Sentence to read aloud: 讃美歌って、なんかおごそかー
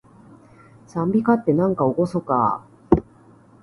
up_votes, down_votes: 2, 0